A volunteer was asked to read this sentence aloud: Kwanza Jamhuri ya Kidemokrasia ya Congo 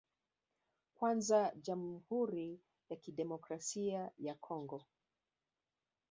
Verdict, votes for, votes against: rejected, 0, 3